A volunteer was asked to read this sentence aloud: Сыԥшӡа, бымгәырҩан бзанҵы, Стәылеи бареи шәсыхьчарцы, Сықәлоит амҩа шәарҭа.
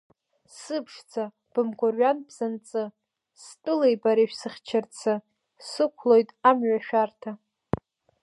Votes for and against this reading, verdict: 2, 0, accepted